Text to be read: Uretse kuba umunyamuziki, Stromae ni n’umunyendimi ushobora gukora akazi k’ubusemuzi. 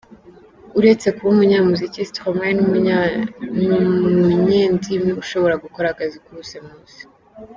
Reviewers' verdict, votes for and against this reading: rejected, 0, 2